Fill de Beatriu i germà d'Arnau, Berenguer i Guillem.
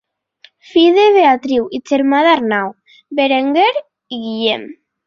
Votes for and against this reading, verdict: 2, 1, accepted